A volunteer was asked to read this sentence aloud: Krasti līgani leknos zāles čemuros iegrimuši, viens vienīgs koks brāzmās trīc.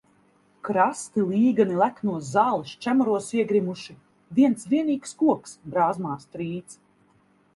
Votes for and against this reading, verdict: 2, 0, accepted